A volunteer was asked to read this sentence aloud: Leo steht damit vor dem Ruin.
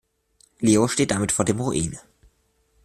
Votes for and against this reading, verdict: 2, 1, accepted